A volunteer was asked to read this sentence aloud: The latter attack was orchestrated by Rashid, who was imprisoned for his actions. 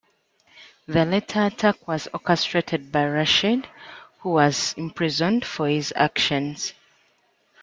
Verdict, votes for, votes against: accepted, 2, 1